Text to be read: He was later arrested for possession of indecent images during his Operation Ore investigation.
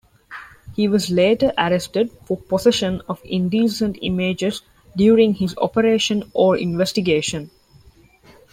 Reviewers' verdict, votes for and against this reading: accepted, 2, 0